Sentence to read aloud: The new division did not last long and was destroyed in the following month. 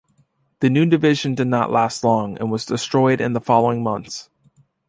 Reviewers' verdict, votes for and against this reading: accepted, 2, 0